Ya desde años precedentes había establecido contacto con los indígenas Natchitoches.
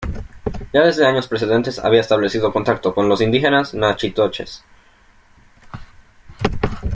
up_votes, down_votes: 2, 0